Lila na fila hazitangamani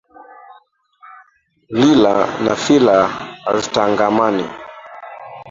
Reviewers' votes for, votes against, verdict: 0, 2, rejected